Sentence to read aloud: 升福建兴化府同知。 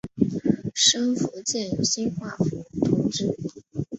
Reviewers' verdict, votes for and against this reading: rejected, 0, 2